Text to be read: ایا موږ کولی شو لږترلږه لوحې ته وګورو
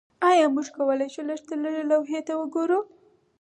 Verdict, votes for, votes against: accepted, 4, 0